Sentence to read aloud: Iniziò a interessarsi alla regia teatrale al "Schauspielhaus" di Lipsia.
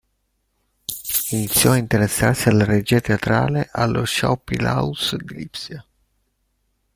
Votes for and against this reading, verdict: 0, 2, rejected